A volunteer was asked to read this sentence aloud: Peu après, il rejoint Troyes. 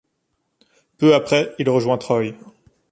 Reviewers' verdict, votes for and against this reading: rejected, 1, 2